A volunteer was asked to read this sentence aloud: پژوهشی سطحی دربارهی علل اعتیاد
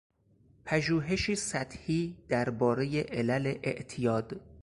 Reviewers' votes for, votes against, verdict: 4, 0, accepted